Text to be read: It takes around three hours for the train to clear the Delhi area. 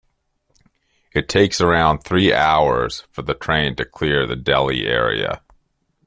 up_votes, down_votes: 2, 0